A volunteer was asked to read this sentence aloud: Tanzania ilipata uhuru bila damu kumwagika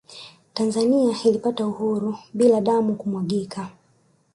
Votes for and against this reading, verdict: 1, 2, rejected